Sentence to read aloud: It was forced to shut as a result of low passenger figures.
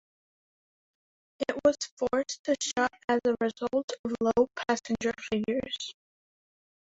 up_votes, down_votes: 0, 2